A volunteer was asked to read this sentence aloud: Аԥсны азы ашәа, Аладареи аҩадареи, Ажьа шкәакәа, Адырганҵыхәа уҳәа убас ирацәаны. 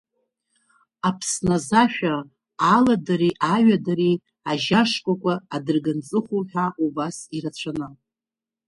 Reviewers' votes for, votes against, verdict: 2, 0, accepted